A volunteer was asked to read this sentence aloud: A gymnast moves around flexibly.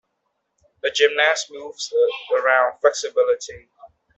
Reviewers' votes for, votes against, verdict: 0, 2, rejected